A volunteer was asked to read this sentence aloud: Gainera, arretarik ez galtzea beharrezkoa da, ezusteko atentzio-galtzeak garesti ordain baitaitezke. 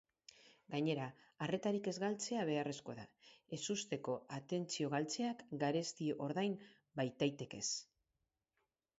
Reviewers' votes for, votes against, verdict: 0, 4, rejected